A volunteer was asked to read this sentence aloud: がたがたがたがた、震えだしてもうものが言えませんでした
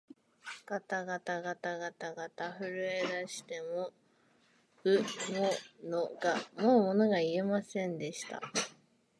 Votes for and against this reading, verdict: 2, 1, accepted